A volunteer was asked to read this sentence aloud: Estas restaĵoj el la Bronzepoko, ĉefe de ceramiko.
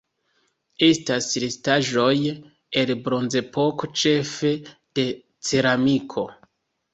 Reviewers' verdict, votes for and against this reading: rejected, 0, 2